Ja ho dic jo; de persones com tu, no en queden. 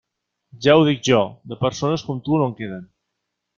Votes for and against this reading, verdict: 2, 0, accepted